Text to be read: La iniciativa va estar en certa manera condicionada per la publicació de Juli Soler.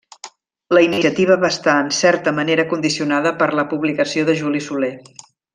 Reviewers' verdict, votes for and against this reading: accepted, 3, 0